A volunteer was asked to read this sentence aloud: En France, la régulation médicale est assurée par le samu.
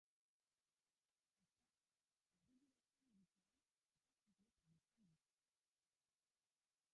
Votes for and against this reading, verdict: 0, 2, rejected